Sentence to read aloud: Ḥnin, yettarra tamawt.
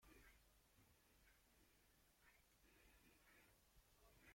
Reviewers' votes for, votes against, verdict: 0, 2, rejected